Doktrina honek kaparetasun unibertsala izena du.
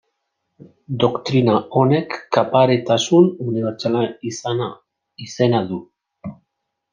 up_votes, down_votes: 1, 2